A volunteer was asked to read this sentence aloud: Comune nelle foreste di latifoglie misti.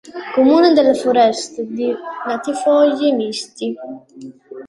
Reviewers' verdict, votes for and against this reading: rejected, 0, 2